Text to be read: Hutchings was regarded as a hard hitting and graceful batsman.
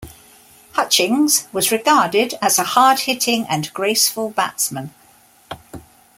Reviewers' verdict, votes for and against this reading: accepted, 2, 0